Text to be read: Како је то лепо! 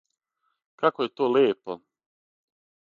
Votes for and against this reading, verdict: 6, 0, accepted